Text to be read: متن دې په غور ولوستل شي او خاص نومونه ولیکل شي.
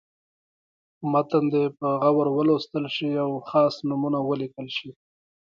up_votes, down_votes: 1, 2